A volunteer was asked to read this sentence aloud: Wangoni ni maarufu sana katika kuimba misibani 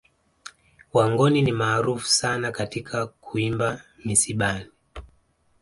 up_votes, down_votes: 2, 0